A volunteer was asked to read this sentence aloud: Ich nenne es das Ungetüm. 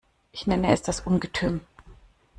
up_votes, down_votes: 2, 0